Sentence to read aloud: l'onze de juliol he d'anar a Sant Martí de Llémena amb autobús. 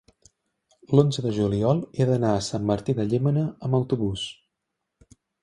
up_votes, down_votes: 3, 1